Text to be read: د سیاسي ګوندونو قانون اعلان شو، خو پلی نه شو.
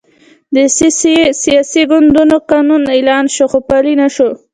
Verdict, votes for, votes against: accepted, 2, 0